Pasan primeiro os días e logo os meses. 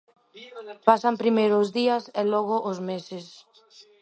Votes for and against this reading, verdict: 1, 2, rejected